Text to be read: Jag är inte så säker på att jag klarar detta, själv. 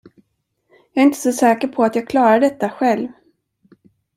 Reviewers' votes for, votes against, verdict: 2, 0, accepted